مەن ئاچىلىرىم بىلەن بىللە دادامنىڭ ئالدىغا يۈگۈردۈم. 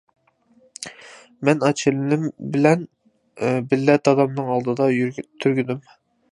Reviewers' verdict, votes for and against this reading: rejected, 0, 2